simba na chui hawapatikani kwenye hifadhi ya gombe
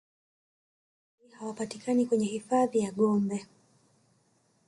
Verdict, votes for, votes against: rejected, 1, 2